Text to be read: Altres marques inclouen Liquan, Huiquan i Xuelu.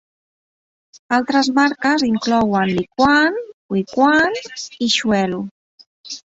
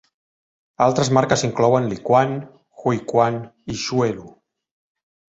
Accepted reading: second